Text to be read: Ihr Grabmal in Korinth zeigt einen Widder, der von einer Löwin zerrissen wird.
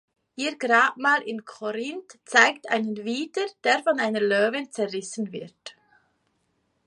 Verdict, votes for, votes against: accepted, 2, 0